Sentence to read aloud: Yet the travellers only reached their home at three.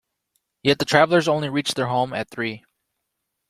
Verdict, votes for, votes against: accepted, 2, 0